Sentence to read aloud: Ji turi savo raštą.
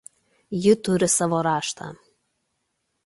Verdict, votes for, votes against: accepted, 2, 0